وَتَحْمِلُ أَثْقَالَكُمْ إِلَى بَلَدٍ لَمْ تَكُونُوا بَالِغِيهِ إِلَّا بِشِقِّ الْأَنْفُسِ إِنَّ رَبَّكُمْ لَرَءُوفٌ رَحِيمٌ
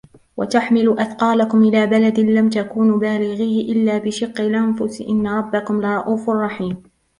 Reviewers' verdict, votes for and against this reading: accepted, 2, 0